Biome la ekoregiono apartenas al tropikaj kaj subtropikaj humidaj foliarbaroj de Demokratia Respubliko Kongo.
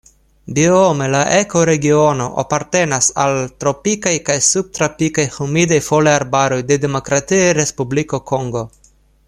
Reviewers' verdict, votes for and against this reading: accepted, 2, 0